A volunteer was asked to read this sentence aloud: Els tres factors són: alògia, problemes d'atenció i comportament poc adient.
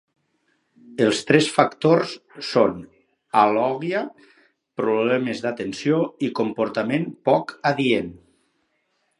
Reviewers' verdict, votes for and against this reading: rejected, 2, 4